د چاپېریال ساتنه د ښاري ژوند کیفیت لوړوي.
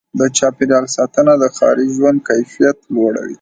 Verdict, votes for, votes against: rejected, 0, 2